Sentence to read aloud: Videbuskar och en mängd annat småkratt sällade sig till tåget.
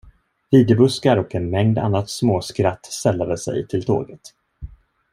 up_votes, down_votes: 0, 2